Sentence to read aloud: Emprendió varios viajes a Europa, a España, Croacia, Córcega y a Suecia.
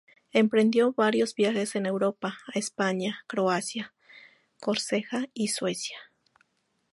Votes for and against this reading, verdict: 0, 2, rejected